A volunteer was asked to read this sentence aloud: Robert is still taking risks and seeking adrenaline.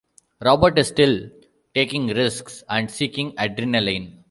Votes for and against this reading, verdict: 1, 2, rejected